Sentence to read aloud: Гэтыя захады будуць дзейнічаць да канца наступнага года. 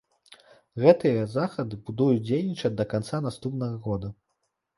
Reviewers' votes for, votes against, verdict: 0, 2, rejected